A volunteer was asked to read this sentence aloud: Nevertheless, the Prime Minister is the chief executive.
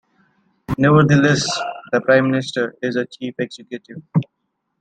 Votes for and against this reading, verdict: 2, 0, accepted